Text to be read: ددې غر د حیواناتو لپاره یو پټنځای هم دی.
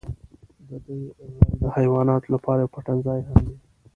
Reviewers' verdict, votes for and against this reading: rejected, 1, 2